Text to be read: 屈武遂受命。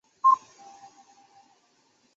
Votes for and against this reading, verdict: 0, 2, rejected